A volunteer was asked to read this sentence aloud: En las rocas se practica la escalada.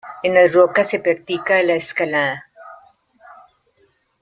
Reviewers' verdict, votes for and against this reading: accepted, 3, 1